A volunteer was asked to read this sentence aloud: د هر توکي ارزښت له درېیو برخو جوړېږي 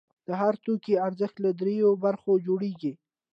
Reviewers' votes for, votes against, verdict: 2, 0, accepted